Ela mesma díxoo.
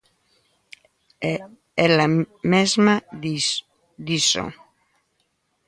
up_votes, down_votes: 0, 2